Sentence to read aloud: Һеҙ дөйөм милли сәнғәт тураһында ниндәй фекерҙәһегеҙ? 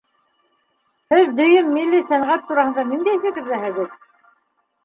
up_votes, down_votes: 0, 2